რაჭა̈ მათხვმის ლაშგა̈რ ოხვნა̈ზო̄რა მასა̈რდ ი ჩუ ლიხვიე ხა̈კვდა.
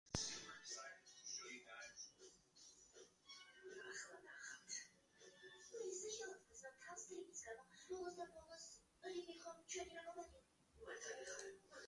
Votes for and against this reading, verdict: 0, 3, rejected